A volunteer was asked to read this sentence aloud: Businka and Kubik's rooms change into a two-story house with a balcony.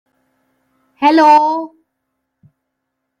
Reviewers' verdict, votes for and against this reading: rejected, 0, 2